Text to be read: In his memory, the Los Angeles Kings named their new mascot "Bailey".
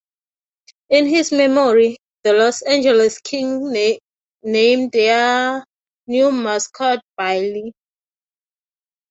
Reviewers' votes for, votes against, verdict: 0, 3, rejected